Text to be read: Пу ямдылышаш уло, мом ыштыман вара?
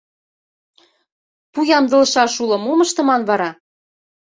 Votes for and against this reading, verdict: 2, 0, accepted